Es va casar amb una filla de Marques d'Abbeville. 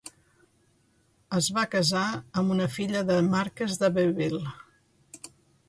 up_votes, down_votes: 2, 1